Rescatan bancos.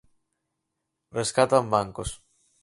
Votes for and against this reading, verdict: 4, 0, accepted